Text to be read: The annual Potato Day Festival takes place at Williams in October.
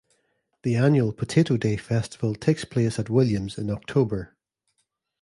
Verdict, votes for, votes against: accepted, 2, 0